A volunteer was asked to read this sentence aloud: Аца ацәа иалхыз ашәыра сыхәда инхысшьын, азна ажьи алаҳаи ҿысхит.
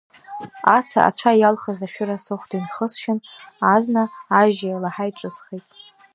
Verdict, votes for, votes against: accepted, 2, 1